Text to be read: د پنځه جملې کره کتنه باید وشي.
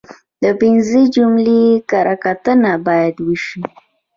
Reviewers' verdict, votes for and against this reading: accepted, 2, 0